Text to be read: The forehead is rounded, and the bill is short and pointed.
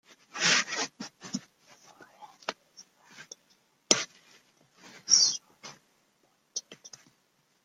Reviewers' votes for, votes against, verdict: 0, 2, rejected